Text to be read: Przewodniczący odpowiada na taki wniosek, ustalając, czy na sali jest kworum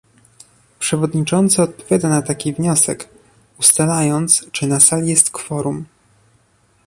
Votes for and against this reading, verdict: 1, 2, rejected